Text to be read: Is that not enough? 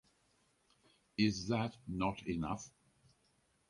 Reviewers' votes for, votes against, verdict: 4, 0, accepted